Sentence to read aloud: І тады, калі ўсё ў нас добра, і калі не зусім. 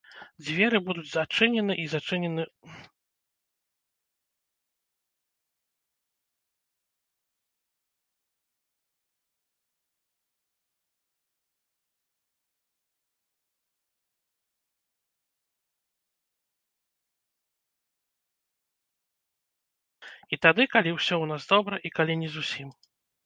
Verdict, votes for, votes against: rejected, 0, 2